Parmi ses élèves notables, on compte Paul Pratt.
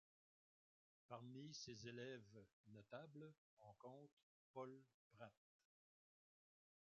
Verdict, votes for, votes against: rejected, 0, 2